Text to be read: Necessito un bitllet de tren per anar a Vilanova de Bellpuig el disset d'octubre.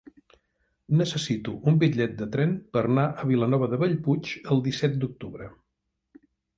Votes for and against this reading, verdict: 0, 2, rejected